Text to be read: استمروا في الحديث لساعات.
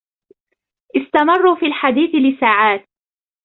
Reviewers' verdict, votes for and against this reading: accepted, 2, 0